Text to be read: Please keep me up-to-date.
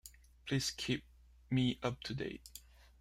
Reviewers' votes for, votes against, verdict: 2, 0, accepted